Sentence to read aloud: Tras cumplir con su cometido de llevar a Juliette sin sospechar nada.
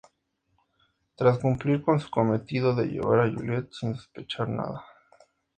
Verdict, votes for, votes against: accepted, 2, 0